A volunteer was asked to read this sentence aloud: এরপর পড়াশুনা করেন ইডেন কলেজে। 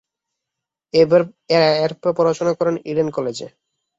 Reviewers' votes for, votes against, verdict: 0, 2, rejected